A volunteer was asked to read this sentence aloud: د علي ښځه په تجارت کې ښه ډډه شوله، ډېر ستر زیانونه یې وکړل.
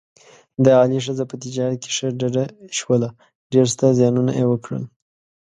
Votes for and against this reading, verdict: 5, 0, accepted